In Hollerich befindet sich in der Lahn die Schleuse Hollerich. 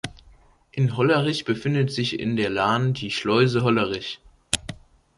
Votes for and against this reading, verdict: 3, 0, accepted